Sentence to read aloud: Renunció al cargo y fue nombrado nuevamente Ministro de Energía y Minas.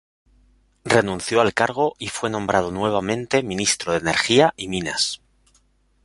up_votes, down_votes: 2, 0